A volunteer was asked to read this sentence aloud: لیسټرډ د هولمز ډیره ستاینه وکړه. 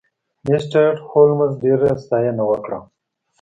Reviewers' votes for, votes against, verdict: 2, 0, accepted